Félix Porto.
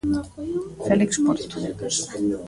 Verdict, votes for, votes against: rejected, 0, 2